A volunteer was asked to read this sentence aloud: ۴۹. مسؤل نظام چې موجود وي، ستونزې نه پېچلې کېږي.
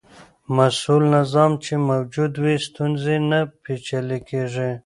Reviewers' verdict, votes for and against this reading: rejected, 0, 2